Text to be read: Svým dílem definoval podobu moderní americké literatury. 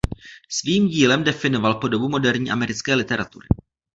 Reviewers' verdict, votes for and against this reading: accepted, 2, 0